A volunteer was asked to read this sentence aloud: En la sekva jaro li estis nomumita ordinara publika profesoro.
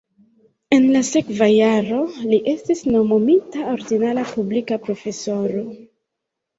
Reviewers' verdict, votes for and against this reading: rejected, 1, 2